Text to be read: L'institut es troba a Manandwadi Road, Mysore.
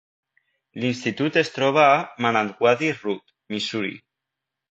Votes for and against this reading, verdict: 1, 2, rejected